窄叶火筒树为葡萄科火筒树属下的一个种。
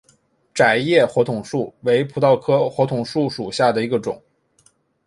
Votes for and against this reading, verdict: 3, 0, accepted